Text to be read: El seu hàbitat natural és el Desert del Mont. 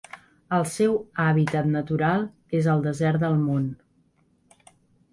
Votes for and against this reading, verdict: 2, 0, accepted